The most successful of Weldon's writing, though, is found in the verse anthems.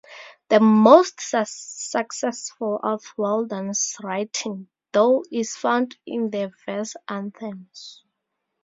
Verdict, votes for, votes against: rejected, 0, 2